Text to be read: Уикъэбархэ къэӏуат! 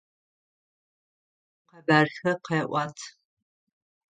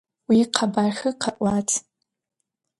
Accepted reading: second